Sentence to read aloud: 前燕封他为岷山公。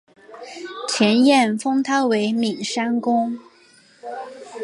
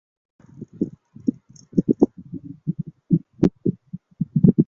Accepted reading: first